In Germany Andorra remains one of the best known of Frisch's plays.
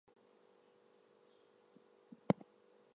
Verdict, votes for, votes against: accepted, 2, 0